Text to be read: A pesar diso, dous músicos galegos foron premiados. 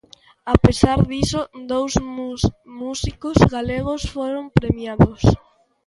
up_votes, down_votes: 0, 2